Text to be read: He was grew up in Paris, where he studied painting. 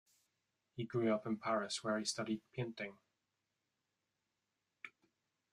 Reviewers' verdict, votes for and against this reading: rejected, 0, 2